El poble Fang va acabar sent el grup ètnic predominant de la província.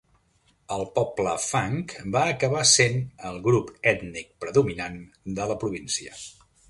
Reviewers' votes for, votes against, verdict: 2, 0, accepted